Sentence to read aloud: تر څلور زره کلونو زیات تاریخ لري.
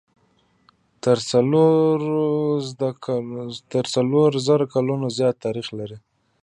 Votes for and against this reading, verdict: 1, 2, rejected